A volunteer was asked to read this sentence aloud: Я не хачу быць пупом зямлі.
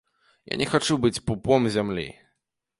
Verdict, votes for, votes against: accepted, 2, 0